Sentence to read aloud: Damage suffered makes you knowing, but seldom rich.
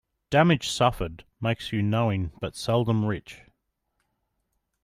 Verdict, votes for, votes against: accepted, 2, 0